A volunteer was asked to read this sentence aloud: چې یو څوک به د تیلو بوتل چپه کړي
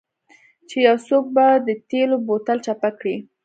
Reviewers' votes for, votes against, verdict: 1, 2, rejected